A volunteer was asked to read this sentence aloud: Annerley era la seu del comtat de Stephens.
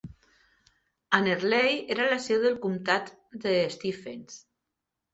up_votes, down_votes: 3, 0